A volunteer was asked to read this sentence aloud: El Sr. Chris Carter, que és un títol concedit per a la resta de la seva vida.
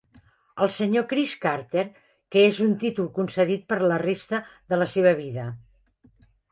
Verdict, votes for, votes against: accepted, 2, 1